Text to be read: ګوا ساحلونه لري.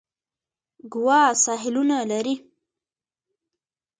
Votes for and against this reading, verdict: 0, 2, rejected